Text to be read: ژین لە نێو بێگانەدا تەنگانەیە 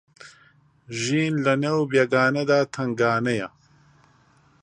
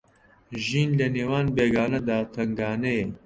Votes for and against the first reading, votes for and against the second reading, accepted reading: 2, 0, 0, 2, first